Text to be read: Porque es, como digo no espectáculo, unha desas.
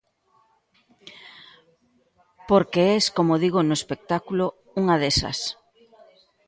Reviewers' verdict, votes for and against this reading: accepted, 2, 0